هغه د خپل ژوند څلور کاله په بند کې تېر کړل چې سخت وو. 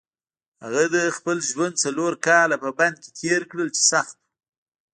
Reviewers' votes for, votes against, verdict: 1, 2, rejected